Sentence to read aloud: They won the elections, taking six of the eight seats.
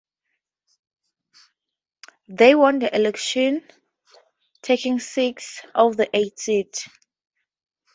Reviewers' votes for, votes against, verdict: 2, 0, accepted